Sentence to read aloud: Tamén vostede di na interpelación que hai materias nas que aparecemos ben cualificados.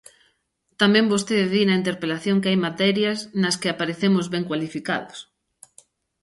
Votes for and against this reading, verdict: 2, 0, accepted